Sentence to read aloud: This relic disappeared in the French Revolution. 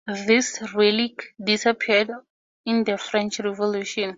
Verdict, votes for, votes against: accepted, 4, 0